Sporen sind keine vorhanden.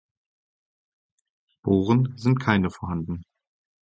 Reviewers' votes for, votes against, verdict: 2, 4, rejected